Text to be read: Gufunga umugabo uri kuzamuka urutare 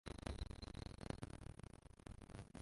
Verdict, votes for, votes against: rejected, 0, 2